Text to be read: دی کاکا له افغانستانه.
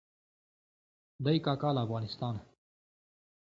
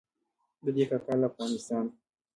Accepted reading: first